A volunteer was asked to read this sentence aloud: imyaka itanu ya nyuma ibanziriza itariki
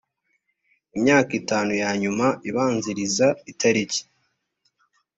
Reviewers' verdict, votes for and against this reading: accepted, 2, 1